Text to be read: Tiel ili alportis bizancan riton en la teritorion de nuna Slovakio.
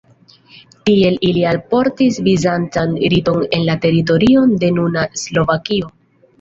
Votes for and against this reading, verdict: 2, 0, accepted